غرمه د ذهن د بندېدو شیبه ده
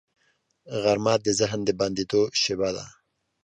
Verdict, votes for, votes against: accepted, 2, 0